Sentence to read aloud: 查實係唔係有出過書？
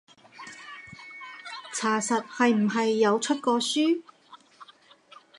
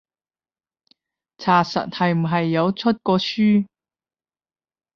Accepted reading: second